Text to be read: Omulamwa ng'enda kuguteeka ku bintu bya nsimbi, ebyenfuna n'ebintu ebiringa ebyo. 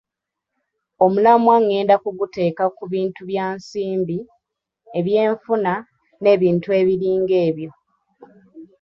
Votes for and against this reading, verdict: 2, 1, accepted